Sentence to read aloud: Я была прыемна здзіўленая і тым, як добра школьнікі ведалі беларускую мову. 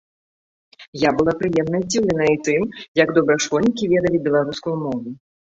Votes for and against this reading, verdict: 2, 0, accepted